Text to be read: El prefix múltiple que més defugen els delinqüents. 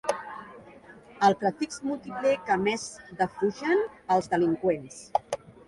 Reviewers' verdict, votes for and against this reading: accepted, 4, 1